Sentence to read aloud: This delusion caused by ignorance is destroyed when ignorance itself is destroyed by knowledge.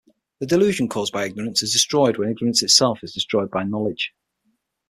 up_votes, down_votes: 3, 6